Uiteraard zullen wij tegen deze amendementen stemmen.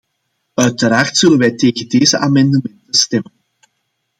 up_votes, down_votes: 2, 0